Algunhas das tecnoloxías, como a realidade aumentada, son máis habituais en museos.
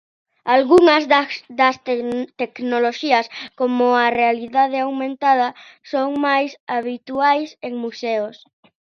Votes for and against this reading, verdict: 0, 2, rejected